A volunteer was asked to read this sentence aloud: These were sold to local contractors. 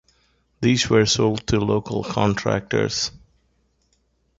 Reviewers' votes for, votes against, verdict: 1, 2, rejected